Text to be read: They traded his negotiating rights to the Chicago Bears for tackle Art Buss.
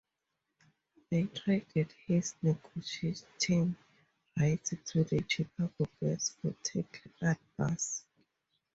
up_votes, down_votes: 0, 4